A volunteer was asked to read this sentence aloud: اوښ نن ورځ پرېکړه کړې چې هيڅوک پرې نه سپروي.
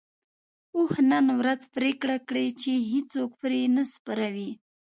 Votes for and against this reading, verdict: 0, 2, rejected